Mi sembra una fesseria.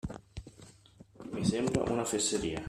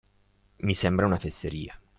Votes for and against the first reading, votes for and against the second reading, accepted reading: 0, 2, 2, 0, second